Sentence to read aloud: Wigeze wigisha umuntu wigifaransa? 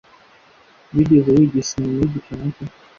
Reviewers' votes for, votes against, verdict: 1, 2, rejected